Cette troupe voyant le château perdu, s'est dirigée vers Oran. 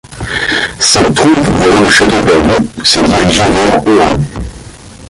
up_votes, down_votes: 0, 2